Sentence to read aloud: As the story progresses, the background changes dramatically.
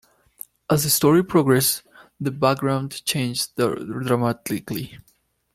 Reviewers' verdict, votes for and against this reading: rejected, 0, 2